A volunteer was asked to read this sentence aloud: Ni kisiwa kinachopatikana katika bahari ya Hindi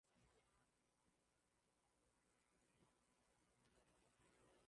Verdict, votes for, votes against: rejected, 0, 11